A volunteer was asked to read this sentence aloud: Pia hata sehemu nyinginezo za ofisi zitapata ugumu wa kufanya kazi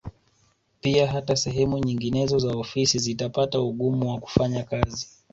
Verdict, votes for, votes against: accepted, 2, 0